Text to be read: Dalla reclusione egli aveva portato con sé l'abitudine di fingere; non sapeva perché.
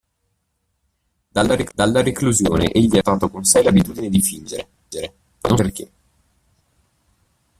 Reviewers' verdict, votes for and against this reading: rejected, 0, 2